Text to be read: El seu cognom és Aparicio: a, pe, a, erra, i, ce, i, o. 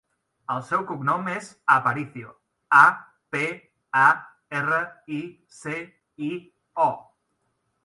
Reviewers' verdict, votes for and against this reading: accepted, 2, 0